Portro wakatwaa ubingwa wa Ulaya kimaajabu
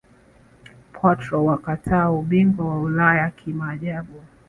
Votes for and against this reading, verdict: 2, 0, accepted